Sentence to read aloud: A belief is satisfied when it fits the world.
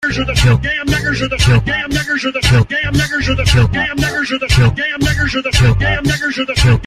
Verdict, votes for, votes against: rejected, 0, 2